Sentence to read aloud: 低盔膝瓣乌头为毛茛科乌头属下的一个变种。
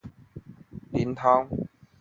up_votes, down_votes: 0, 2